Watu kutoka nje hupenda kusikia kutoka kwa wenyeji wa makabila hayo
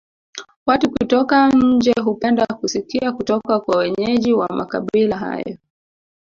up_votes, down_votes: 1, 2